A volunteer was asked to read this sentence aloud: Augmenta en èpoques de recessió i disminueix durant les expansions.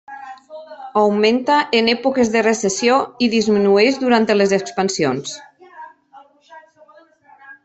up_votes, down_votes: 0, 2